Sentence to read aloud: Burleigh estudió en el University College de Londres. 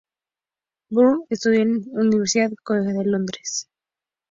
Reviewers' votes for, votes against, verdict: 0, 2, rejected